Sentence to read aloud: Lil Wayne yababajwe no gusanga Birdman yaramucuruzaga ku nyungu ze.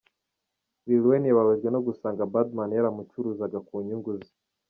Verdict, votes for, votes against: rejected, 0, 2